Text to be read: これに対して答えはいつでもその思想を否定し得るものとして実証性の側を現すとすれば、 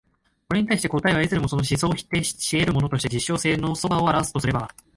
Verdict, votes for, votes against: rejected, 0, 3